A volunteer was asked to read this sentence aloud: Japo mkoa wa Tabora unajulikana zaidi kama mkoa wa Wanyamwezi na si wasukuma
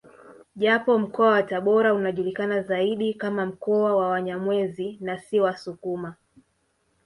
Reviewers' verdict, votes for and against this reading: rejected, 1, 2